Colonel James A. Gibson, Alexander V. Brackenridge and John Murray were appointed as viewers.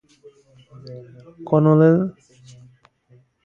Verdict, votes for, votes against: rejected, 0, 2